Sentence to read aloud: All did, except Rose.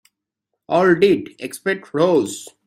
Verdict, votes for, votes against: rejected, 0, 2